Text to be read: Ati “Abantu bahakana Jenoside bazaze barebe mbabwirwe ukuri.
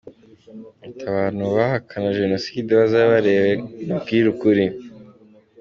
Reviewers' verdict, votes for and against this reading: rejected, 0, 2